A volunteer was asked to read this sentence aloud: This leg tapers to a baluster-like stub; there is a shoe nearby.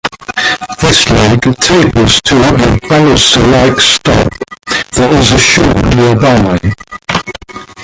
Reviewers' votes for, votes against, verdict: 0, 2, rejected